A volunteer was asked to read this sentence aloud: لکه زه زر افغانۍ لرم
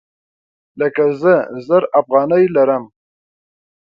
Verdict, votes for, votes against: accepted, 2, 0